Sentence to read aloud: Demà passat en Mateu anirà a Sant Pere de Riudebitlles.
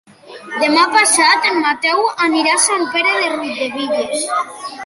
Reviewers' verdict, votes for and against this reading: rejected, 1, 2